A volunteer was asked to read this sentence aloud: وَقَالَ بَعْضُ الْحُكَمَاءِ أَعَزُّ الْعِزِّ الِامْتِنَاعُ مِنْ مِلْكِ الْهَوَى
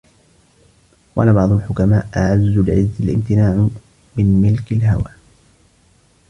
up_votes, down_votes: 1, 2